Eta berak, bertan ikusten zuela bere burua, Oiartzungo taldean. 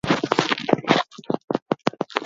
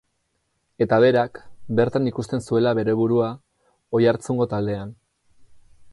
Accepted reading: second